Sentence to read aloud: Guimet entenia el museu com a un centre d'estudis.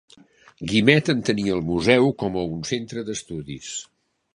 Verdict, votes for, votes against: accepted, 3, 0